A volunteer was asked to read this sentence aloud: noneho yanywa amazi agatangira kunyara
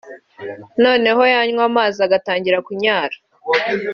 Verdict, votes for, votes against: accepted, 2, 0